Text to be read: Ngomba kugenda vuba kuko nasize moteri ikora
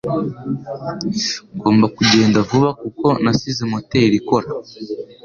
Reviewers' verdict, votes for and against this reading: accepted, 2, 0